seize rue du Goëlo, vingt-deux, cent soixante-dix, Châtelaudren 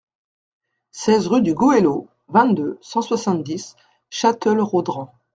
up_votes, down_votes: 0, 2